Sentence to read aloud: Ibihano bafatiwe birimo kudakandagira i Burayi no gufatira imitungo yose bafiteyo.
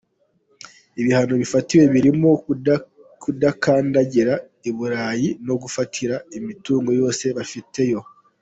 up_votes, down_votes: 2, 0